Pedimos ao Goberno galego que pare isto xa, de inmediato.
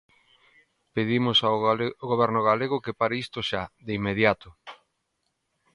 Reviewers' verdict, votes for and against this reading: rejected, 0, 2